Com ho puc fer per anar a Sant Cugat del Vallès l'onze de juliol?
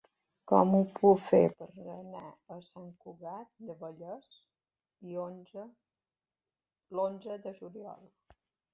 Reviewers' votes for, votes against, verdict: 0, 2, rejected